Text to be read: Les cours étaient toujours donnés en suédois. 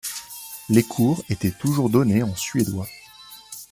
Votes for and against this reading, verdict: 2, 0, accepted